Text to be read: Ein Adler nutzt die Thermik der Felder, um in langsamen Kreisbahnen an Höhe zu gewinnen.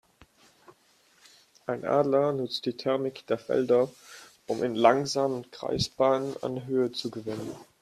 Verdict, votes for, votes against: rejected, 2, 4